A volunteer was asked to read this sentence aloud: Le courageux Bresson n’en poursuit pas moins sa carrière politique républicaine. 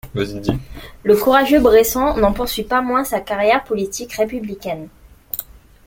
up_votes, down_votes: 0, 2